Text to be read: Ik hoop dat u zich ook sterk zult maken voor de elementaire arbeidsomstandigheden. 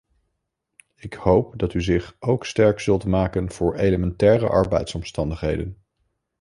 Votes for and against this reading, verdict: 1, 3, rejected